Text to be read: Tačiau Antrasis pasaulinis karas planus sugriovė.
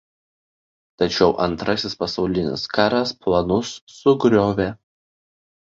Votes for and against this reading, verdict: 2, 0, accepted